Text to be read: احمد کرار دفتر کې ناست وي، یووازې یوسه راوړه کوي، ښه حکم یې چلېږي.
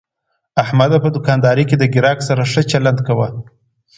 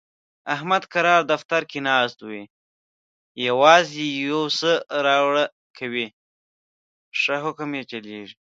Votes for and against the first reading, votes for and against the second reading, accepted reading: 2, 0, 1, 2, first